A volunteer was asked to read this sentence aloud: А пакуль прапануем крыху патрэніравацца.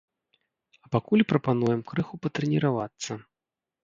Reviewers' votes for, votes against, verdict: 0, 2, rejected